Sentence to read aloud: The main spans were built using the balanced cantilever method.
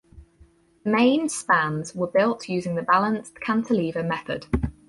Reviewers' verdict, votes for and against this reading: rejected, 0, 4